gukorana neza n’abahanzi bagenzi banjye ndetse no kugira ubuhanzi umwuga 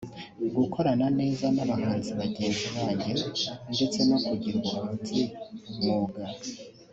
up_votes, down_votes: 3, 0